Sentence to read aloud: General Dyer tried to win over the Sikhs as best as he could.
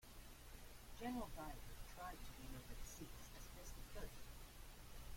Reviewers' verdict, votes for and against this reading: rejected, 0, 2